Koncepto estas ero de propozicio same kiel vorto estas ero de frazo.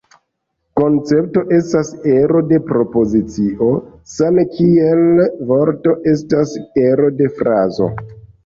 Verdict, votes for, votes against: rejected, 1, 3